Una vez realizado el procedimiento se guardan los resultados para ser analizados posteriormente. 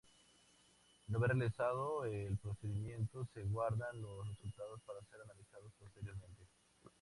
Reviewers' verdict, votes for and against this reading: rejected, 0, 2